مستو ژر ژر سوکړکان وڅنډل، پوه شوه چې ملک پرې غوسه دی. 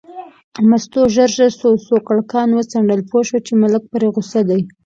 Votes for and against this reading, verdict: 2, 0, accepted